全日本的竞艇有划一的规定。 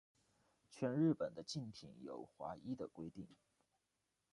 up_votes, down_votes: 2, 0